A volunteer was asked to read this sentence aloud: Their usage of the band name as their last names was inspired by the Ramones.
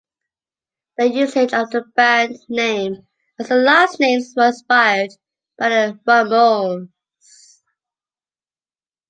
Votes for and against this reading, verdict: 2, 0, accepted